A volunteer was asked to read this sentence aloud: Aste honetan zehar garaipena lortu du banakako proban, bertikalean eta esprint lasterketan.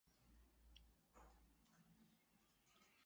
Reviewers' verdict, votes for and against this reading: rejected, 0, 2